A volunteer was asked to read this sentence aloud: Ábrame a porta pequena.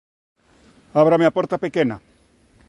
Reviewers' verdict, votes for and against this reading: accepted, 2, 0